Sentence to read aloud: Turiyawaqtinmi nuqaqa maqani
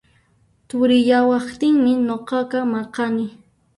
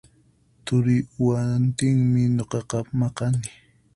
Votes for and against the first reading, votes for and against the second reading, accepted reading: 2, 1, 0, 4, first